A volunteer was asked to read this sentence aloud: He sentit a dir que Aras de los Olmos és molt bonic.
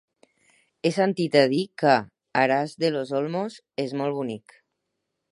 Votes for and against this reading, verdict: 2, 4, rejected